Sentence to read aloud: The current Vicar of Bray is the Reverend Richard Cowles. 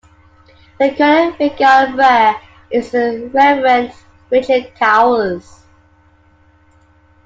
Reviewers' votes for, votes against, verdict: 1, 2, rejected